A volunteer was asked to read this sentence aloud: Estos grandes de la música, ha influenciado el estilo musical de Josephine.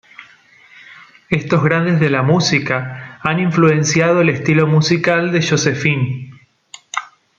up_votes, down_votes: 2, 1